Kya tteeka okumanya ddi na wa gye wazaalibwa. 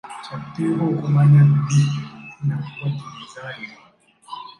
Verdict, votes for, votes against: rejected, 1, 2